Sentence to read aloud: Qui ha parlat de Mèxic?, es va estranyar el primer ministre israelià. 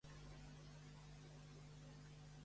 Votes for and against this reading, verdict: 0, 2, rejected